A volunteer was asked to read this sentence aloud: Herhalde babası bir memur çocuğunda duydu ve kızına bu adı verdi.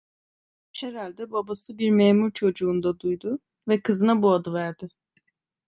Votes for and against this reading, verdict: 1, 2, rejected